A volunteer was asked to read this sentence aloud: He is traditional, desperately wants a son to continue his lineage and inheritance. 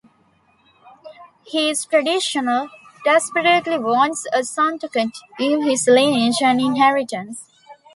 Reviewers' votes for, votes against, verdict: 2, 0, accepted